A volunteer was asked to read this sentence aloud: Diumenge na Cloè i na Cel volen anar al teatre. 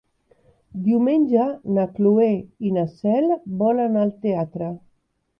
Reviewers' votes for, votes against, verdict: 2, 3, rejected